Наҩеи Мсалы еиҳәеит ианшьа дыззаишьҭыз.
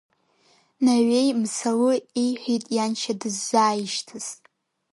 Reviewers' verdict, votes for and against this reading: rejected, 1, 4